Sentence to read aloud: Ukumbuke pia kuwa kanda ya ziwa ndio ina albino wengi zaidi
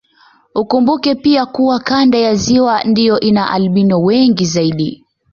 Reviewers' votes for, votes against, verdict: 2, 0, accepted